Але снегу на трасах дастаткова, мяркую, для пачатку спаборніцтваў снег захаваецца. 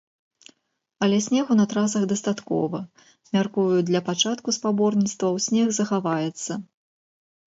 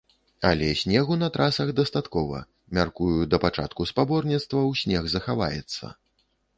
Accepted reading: first